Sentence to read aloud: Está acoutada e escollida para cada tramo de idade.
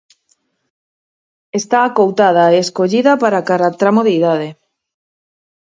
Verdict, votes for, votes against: accepted, 4, 0